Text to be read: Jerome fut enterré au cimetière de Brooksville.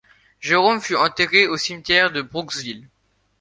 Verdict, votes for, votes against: accepted, 2, 0